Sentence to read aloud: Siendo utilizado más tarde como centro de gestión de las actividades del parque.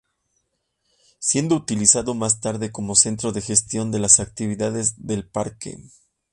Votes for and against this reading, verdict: 2, 0, accepted